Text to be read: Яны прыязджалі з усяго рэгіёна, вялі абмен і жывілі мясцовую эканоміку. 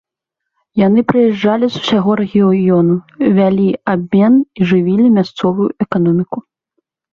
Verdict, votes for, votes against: accepted, 2, 0